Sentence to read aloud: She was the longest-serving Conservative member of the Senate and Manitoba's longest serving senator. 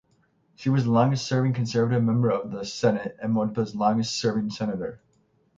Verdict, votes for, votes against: accepted, 6, 3